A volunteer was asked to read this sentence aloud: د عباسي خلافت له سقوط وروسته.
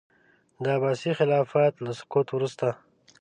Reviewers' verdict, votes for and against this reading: accepted, 2, 0